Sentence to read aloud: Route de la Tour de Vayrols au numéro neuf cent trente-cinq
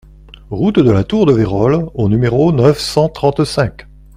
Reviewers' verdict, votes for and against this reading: accepted, 2, 0